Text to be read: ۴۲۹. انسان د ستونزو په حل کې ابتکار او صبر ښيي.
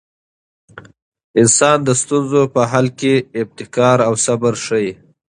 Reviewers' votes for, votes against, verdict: 0, 2, rejected